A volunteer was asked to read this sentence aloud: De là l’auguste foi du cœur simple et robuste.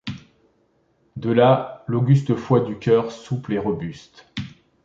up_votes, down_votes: 0, 2